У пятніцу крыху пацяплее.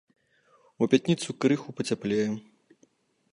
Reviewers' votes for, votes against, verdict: 1, 2, rejected